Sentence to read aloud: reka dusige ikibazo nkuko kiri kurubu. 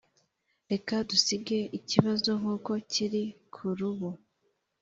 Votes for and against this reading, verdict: 4, 0, accepted